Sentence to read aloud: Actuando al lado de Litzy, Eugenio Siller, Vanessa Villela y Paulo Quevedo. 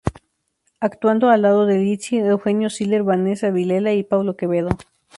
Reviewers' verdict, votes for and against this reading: rejected, 0, 2